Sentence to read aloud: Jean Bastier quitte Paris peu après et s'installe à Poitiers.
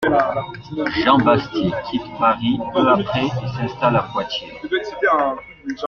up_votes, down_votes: 1, 2